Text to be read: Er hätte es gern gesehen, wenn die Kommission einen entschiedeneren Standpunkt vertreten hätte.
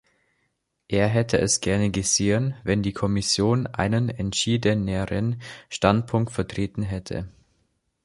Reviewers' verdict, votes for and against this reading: rejected, 0, 2